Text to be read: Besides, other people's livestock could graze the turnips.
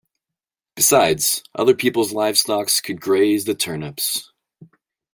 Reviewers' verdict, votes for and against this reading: rejected, 1, 2